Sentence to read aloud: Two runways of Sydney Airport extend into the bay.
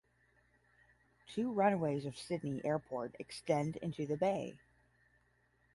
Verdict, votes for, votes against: accepted, 10, 0